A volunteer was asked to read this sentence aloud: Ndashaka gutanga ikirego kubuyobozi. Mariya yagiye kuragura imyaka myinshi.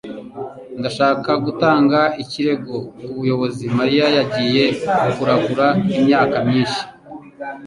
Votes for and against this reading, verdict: 2, 0, accepted